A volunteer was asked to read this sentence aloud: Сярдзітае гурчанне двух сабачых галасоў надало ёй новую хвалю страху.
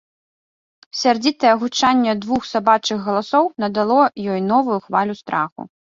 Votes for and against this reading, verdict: 1, 2, rejected